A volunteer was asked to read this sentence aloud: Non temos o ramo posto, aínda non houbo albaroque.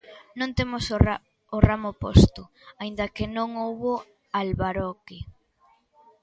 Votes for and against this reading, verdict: 0, 2, rejected